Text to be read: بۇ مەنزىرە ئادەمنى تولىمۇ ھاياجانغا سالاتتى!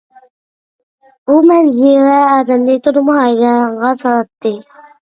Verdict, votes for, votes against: rejected, 0, 2